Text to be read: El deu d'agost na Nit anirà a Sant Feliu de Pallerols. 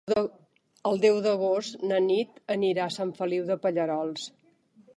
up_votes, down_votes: 2, 3